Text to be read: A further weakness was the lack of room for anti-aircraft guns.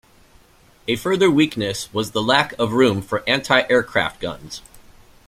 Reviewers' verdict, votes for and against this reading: accepted, 2, 0